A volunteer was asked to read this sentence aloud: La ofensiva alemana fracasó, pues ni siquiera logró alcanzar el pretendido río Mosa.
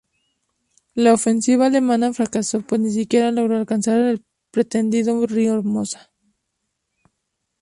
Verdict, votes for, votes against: rejected, 0, 2